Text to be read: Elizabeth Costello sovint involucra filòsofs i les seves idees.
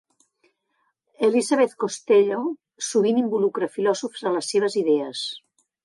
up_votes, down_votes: 1, 3